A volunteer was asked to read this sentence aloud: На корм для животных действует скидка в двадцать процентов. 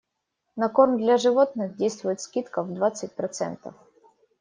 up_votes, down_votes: 2, 0